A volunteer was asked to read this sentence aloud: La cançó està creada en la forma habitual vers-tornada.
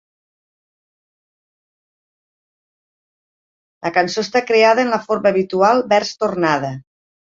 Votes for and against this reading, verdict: 2, 0, accepted